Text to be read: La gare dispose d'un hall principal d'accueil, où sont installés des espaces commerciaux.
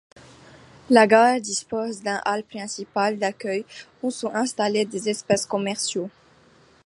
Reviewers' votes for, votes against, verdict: 2, 0, accepted